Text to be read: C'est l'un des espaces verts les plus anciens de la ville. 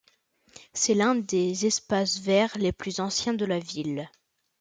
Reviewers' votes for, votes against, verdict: 2, 0, accepted